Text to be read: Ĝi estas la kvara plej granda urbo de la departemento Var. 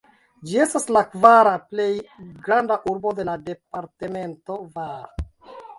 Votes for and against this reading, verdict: 1, 2, rejected